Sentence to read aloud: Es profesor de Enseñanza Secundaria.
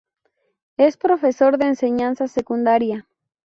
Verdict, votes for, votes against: accepted, 2, 0